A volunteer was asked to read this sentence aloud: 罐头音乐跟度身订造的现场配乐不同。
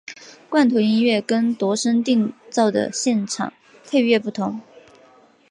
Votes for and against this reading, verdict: 4, 0, accepted